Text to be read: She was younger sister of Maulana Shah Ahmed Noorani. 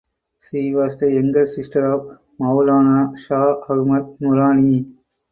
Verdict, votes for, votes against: rejected, 2, 2